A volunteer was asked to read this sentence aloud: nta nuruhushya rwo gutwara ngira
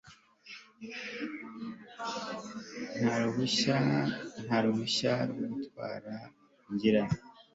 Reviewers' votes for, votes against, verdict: 1, 2, rejected